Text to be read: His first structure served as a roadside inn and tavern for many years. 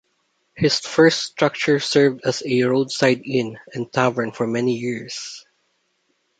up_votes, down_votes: 2, 0